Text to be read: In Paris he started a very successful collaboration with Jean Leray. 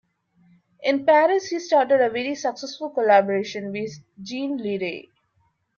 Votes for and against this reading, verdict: 2, 1, accepted